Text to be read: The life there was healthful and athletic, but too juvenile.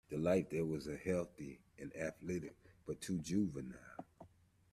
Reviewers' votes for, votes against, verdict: 0, 2, rejected